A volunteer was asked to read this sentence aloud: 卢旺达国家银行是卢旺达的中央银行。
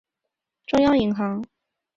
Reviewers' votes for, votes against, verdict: 0, 3, rejected